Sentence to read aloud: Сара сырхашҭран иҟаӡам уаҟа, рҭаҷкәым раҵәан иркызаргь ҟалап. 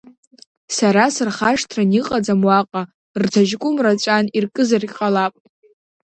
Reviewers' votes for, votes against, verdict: 1, 2, rejected